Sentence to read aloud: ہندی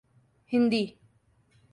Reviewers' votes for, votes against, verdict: 2, 0, accepted